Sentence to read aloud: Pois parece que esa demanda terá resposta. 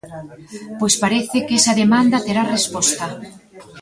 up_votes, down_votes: 1, 2